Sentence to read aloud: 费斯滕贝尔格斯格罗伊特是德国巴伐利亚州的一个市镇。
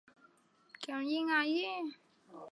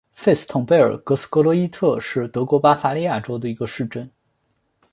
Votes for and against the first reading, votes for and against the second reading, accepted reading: 0, 4, 2, 0, second